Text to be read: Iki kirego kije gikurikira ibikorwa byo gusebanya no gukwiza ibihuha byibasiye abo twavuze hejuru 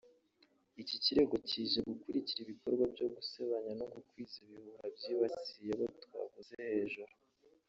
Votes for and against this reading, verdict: 2, 0, accepted